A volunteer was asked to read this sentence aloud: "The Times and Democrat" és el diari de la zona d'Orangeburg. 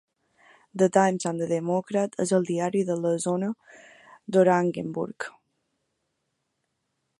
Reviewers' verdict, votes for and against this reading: rejected, 0, 2